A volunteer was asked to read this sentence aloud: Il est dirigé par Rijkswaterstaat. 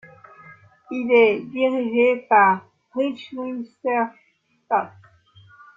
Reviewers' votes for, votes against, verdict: 1, 2, rejected